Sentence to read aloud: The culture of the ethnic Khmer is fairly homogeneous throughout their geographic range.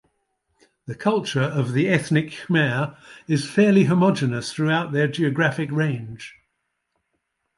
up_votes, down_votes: 2, 0